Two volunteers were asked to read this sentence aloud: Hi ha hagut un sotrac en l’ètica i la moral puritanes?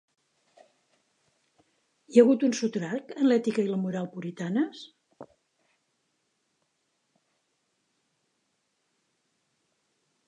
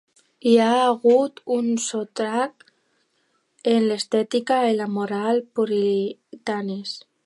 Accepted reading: first